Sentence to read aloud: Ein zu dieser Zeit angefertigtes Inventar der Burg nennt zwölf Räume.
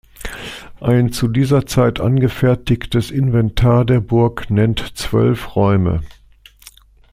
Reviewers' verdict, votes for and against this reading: accepted, 2, 0